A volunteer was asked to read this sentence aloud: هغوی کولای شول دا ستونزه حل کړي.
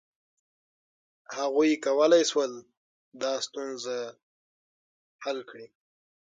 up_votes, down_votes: 6, 3